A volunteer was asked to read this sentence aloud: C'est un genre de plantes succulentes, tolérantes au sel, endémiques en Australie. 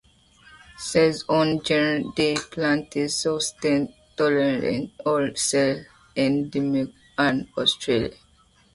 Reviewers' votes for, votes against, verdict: 1, 2, rejected